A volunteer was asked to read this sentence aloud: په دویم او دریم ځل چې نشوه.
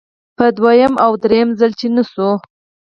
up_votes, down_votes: 4, 0